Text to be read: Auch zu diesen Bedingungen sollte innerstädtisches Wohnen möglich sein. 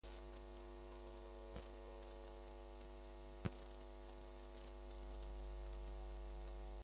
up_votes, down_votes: 0, 2